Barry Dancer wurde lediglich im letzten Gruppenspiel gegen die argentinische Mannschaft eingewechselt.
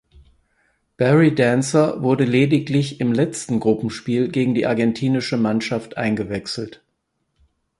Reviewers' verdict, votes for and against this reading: accepted, 4, 0